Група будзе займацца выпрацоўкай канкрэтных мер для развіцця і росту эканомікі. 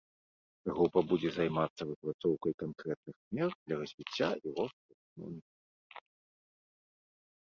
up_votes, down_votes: 0, 2